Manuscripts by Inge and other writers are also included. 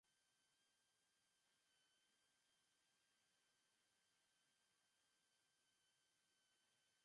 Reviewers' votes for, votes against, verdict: 0, 2, rejected